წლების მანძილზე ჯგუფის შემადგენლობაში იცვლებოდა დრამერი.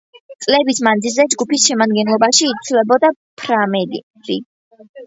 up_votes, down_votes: 0, 2